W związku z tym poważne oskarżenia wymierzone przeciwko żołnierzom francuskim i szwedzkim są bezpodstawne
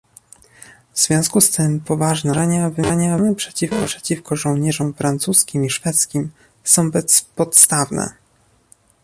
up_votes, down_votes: 0, 2